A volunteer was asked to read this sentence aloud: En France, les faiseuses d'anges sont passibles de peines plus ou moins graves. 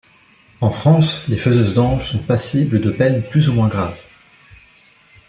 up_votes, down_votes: 2, 0